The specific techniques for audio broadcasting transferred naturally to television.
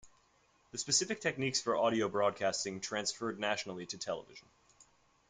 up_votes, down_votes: 2, 0